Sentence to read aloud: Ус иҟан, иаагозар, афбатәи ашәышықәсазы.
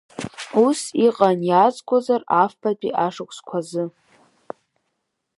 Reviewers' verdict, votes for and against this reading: rejected, 3, 5